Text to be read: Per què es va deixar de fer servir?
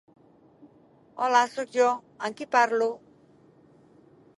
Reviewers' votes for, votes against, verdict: 0, 2, rejected